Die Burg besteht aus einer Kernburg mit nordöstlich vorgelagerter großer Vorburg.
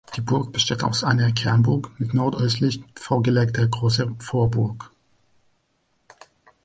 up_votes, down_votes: 1, 2